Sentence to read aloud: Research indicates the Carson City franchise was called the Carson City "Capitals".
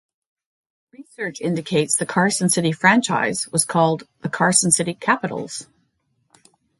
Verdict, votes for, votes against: accepted, 2, 0